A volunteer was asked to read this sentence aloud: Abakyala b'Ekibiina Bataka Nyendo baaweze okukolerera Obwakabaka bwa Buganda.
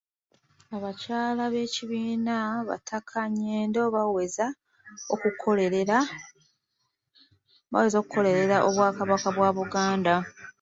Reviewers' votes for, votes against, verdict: 0, 2, rejected